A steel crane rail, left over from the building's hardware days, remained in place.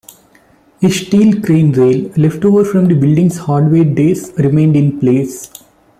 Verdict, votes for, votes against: rejected, 1, 2